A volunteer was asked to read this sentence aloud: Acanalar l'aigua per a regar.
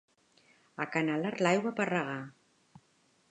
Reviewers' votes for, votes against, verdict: 1, 2, rejected